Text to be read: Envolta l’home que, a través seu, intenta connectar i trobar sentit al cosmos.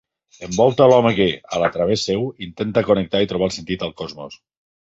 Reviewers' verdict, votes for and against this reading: rejected, 1, 2